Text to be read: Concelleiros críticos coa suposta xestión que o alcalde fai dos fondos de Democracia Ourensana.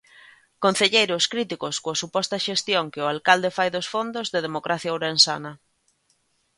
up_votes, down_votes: 2, 0